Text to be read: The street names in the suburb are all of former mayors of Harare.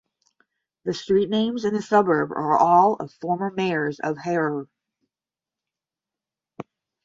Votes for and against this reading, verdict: 5, 0, accepted